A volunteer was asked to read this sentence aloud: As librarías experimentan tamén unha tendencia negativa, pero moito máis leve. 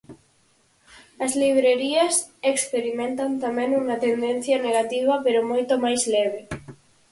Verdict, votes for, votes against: rejected, 2, 4